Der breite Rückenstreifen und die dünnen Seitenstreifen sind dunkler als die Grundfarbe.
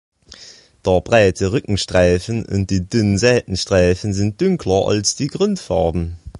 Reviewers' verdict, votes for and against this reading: rejected, 0, 2